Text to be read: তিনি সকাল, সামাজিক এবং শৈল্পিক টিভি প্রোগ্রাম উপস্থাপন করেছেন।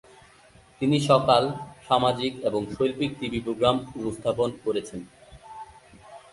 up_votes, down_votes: 2, 2